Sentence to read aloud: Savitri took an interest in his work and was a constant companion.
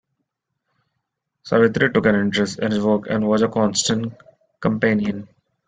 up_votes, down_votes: 1, 2